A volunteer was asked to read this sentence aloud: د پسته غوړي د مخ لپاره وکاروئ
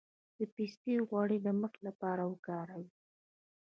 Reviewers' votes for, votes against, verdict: 0, 2, rejected